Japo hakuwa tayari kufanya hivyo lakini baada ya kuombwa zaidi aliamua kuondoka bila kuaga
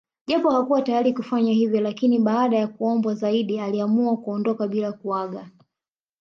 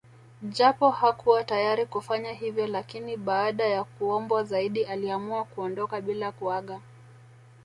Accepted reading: first